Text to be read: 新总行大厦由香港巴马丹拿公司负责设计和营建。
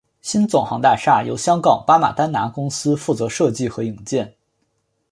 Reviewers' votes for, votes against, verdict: 2, 0, accepted